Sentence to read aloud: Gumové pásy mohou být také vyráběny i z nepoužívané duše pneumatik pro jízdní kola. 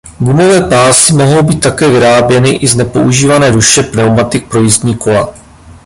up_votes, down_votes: 0, 2